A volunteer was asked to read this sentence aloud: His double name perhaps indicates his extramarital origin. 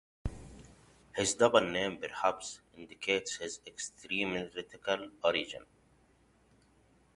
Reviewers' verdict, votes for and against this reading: rejected, 0, 2